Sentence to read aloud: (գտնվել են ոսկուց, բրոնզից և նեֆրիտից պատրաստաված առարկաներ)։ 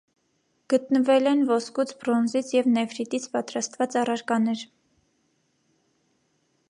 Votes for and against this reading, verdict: 3, 0, accepted